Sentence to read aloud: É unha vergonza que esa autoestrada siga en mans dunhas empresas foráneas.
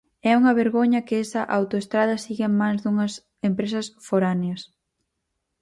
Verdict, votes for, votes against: rejected, 0, 4